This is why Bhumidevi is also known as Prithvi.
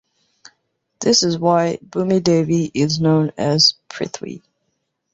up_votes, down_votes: 0, 2